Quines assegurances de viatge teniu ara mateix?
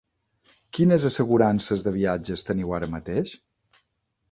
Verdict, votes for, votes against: rejected, 1, 2